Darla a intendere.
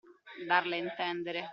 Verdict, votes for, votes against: accepted, 2, 0